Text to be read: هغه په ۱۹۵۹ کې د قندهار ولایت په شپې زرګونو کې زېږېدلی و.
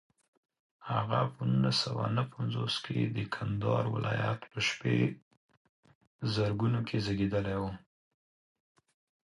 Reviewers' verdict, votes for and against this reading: rejected, 0, 2